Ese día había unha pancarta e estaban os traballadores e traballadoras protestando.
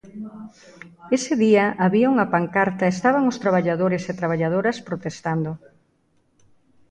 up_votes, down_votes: 1, 2